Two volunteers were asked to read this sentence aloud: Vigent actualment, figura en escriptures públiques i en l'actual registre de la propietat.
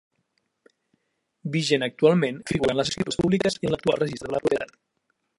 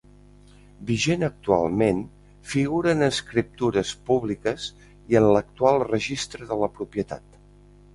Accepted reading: second